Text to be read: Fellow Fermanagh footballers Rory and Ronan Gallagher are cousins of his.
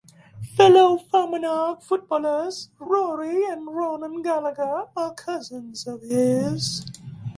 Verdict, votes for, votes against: rejected, 1, 2